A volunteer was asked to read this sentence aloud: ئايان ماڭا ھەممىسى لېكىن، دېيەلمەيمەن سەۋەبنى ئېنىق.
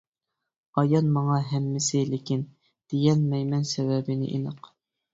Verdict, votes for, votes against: rejected, 0, 2